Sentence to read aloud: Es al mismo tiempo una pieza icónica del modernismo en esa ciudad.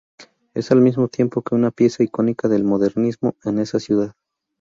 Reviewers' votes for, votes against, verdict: 0, 2, rejected